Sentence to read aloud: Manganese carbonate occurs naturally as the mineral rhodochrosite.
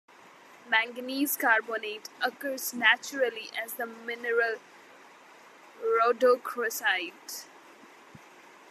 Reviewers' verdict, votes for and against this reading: accepted, 2, 0